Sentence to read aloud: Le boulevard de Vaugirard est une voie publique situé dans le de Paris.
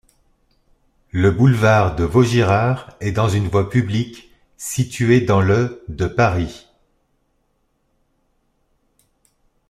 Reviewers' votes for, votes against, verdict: 0, 2, rejected